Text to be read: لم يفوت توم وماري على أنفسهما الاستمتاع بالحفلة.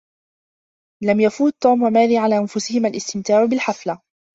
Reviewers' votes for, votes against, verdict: 0, 2, rejected